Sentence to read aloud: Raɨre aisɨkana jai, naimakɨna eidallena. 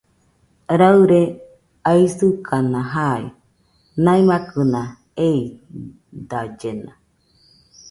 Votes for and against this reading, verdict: 2, 1, accepted